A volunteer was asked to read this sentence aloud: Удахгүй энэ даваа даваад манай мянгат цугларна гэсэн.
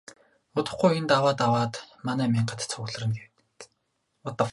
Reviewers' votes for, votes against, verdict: 0, 4, rejected